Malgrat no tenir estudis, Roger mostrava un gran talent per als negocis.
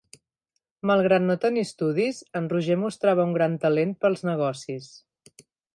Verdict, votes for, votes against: rejected, 0, 2